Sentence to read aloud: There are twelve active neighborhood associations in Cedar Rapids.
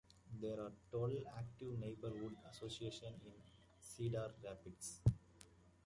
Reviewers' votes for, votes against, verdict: 0, 2, rejected